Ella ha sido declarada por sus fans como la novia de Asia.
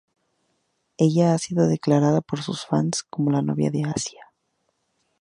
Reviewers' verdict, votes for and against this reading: accepted, 4, 0